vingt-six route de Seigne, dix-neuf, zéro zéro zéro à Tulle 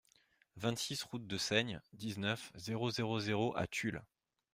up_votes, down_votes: 2, 0